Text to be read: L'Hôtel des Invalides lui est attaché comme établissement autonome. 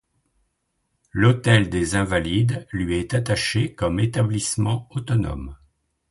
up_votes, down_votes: 2, 0